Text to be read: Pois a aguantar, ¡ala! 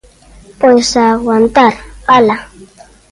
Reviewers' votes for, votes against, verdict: 2, 0, accepted